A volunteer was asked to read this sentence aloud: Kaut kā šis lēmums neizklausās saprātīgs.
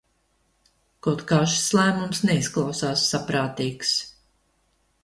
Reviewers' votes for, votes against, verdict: 2, 0, accepted